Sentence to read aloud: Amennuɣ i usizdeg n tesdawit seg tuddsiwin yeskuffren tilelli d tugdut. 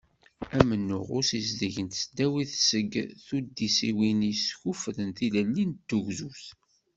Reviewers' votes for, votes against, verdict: 0, 2, rejected